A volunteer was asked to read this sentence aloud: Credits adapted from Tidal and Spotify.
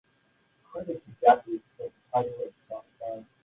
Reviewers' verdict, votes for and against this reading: rejected, 1, 2